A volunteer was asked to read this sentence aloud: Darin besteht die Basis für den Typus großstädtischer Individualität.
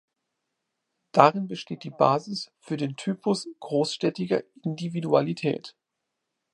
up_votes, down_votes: 2, 0